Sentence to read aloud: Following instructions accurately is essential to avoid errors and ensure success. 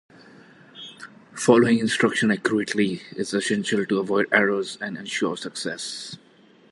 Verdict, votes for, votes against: accepted, 2, 0